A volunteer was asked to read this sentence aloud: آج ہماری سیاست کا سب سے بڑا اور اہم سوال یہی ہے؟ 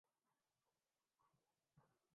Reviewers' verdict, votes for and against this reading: rejected, 2, 6